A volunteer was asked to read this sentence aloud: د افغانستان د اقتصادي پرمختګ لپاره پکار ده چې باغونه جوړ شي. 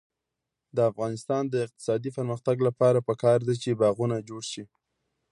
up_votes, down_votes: 2, 0